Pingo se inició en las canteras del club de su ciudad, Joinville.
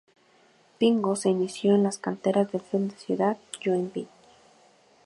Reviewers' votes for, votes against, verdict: 2, 2, rejected